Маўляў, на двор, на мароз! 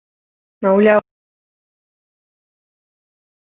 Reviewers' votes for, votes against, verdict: 0, 2, rejected